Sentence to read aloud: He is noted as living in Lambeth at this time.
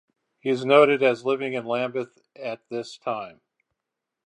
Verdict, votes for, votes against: accepted, 4, 0